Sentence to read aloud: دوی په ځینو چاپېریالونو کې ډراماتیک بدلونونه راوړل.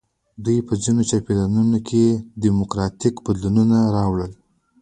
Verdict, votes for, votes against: accepted, 2, 1